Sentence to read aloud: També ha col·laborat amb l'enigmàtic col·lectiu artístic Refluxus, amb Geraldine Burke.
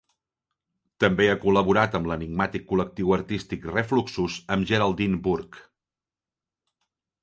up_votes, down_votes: 1, 2